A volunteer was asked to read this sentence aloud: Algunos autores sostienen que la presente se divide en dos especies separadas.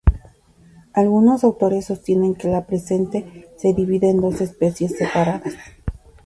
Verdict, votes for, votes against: accepted, 2, 0